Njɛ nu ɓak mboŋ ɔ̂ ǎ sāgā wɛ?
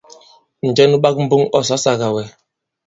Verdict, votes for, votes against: rejected, 1, 2